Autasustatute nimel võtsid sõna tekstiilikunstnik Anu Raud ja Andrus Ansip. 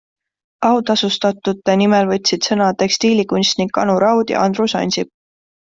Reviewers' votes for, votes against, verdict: 2, 0, accepted